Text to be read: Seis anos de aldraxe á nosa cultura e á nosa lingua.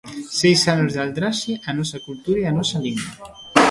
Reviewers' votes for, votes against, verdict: 0, 2, rejected